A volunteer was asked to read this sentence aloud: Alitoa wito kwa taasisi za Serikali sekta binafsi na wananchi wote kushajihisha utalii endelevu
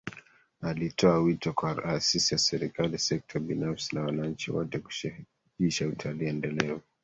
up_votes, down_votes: 1, 2